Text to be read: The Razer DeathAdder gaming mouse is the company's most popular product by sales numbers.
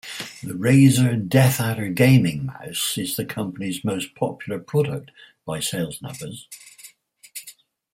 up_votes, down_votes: 4, 0